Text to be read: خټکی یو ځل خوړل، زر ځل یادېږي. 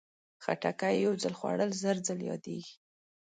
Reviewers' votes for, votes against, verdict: 2, 0, accepted